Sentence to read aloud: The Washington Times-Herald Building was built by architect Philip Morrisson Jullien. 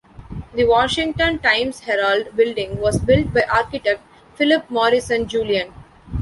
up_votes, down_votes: 2, 0